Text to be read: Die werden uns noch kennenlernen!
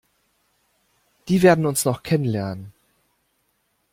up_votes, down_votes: 2, 0